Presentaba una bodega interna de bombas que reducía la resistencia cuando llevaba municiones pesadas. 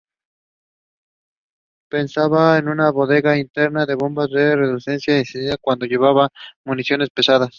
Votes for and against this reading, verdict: 0, 4, rejected